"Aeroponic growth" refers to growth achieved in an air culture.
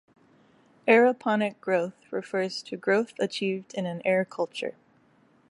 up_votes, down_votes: 2, 0